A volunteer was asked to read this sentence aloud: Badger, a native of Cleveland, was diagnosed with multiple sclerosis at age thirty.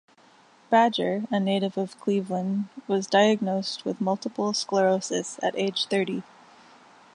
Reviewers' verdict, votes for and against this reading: rejected, 1, 2